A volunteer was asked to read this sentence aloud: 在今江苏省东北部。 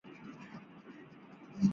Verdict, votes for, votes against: rejected, 0, 4